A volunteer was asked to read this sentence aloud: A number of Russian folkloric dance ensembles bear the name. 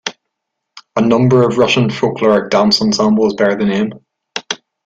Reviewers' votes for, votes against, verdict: 2, 0, accepted